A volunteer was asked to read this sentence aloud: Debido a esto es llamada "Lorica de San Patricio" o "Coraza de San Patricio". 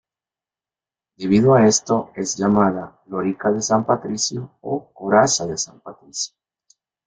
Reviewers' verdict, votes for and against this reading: accepted, 4, 0